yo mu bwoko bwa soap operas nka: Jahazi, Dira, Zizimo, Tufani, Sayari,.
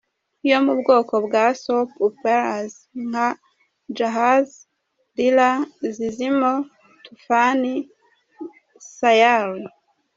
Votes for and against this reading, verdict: 0, 2, rejected